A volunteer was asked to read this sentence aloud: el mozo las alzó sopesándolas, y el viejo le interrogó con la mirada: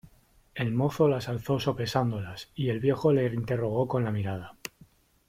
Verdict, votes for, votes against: accepted, 2, 0